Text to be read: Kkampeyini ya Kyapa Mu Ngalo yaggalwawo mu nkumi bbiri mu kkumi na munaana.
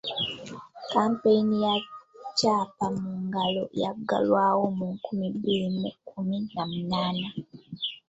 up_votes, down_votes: 2, 0